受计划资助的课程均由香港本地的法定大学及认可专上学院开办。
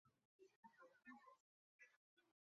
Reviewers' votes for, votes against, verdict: 1, 2, rejected